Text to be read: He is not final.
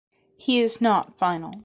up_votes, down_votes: 2, 0